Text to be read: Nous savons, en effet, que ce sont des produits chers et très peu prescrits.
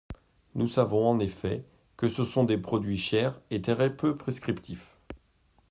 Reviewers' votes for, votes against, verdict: 0, 2, rejected